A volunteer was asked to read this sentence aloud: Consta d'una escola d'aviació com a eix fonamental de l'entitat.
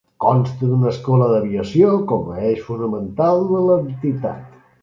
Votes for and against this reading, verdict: 1, 2, rejected